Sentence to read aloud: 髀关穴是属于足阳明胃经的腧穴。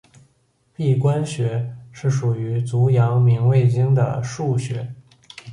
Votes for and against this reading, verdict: 2, 0, accepted